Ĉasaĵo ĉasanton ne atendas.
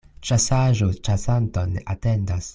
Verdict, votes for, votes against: rejected, 1, 2